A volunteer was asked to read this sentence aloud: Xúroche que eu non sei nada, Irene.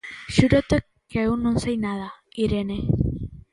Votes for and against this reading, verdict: 0, 2, rejected